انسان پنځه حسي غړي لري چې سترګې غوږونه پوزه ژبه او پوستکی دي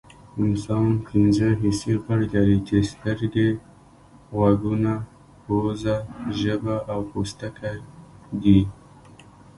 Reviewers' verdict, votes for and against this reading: rejected, 0, 2